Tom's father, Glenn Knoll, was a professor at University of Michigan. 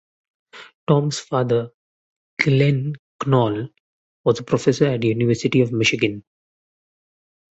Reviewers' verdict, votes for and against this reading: rejected, 0, 3